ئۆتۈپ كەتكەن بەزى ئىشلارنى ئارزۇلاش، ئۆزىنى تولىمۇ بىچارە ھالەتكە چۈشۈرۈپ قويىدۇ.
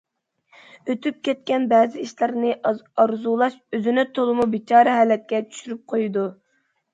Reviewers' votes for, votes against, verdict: 1, 2, rejected